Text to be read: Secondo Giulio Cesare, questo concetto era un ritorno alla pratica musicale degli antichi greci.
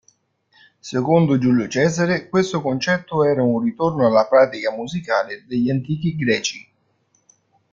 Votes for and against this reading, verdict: 1, 2, rejected